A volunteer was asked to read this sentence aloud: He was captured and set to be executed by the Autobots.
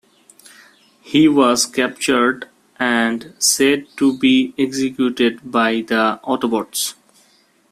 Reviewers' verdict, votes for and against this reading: rejected, 1, 2